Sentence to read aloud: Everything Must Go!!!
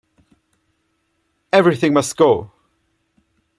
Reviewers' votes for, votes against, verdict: 2, 0, accepted